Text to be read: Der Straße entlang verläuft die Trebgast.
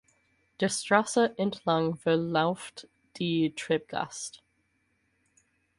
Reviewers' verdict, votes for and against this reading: rejected, 0, 4